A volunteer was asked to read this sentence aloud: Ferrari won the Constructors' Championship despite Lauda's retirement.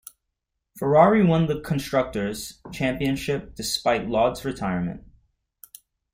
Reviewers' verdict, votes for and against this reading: rejected, 1, 2